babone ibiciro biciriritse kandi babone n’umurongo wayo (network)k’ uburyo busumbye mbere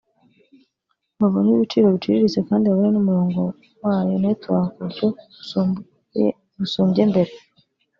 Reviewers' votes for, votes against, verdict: 1, 2, rejected